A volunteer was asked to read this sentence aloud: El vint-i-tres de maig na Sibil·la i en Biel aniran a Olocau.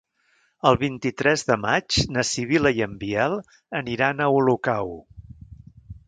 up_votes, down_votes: 4, 0